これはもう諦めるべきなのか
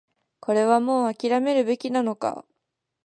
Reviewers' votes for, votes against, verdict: 2, 0, accepted